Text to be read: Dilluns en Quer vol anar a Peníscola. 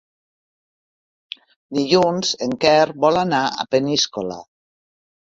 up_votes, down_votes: 3, 0